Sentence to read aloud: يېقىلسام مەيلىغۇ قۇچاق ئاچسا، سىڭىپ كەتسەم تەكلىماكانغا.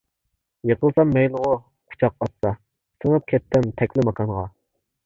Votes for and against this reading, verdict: 1, 2, rejected